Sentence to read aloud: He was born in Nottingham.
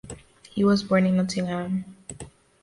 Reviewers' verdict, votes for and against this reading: accepted, 2, 0